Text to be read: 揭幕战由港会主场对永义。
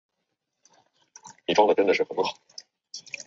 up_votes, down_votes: 0, 5